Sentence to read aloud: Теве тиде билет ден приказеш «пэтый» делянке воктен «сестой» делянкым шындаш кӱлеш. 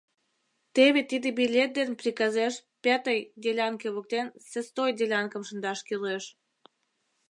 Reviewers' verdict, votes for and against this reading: rejected, 0, 2